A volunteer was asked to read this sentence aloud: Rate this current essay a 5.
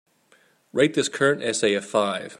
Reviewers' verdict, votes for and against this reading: rejected, 0, 2